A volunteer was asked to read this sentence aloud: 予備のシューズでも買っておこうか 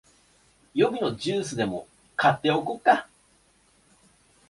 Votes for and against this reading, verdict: 0, 3, rejected